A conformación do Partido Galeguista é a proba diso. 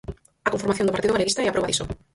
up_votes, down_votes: 2, 4